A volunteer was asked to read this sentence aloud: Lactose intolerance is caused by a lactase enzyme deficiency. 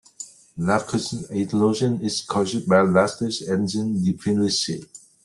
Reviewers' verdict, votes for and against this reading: rejected, 0, 2